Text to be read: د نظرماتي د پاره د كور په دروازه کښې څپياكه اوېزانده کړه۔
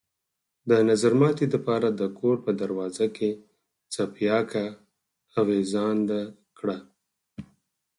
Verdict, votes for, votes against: rejected, 2, 4